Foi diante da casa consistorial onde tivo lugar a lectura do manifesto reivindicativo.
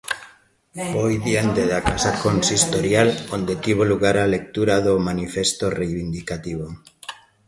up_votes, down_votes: 2, 0